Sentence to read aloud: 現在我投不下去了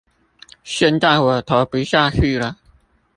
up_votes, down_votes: 0, 2